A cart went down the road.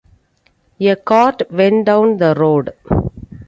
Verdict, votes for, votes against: accepted, 2, 0